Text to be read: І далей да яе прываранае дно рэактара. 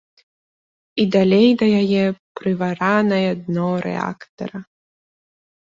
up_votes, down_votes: 0, 2